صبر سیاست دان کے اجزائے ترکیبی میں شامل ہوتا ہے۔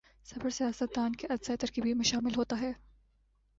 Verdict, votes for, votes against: accepted, 3, 0